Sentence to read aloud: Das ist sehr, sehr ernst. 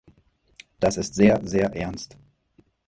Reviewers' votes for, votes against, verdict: 4, 0, accepted